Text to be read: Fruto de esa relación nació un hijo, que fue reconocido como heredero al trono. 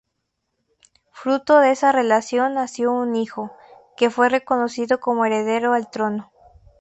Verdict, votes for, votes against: accepted, 2, 0